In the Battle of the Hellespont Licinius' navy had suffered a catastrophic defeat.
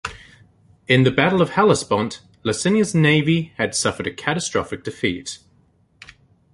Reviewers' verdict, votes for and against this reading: rejected, 1, 2